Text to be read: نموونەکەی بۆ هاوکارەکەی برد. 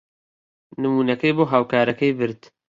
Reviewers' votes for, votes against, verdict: 2, 0, accepted